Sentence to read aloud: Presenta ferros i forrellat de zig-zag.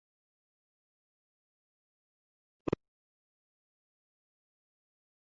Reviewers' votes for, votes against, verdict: 0, 2, rejected